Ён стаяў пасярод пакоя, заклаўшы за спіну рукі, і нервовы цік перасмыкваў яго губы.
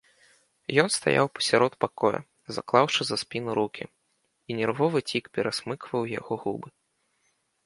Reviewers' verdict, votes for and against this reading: accepted, 2, 0